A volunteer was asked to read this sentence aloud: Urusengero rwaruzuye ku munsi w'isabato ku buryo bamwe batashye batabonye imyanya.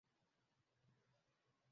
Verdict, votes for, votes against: rejected, 0, 2